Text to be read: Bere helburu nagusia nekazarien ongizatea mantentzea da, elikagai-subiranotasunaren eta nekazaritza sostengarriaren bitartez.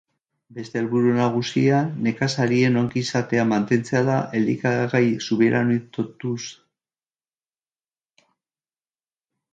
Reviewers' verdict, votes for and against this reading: rejected, 0, 3